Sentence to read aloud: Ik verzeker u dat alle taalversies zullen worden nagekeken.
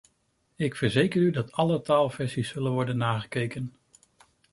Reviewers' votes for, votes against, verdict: 2, 0, accepted